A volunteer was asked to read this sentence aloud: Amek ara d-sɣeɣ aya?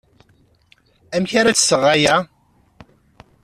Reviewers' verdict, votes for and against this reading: accepted, 2, 0